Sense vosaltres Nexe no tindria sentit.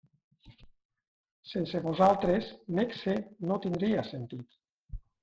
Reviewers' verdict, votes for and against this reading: accepted, 3, 0